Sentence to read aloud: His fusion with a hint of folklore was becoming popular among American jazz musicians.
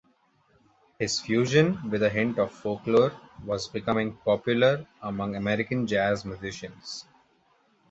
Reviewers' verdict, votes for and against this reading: accepted, 2, 0